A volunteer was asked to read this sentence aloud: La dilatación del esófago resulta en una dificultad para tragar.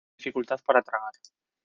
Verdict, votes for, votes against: rejected, 1, 2